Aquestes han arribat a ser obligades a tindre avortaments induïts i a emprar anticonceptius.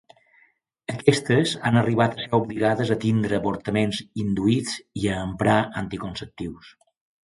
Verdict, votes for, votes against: accepted, 2, 0